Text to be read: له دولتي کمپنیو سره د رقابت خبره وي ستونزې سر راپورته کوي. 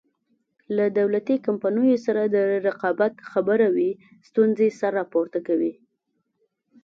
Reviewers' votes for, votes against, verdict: 2, 0, accepted